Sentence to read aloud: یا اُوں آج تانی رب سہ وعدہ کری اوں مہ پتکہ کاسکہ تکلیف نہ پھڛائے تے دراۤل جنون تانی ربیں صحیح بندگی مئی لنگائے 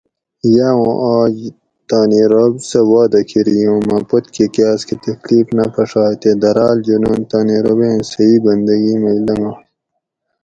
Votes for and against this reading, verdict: 4, 0, accepted